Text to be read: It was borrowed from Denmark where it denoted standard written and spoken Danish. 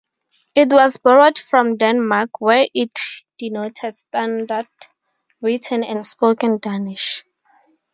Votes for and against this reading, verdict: 4, 0, accepted